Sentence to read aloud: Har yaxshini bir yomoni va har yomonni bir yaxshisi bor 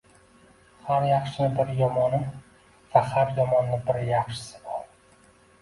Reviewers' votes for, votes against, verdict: 1, 2, rejected